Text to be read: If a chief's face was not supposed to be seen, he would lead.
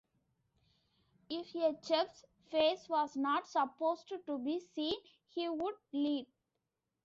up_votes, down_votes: 1, 2